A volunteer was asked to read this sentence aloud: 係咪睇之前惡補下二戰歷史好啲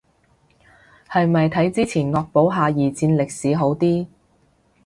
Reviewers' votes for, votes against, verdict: 2, 0, accepted